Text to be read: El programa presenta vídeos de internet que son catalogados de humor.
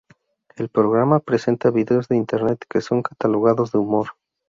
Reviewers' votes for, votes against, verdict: 4, 0, accepted